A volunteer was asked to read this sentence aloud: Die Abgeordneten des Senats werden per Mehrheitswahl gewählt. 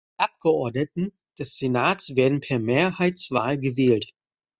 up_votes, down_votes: 1, 2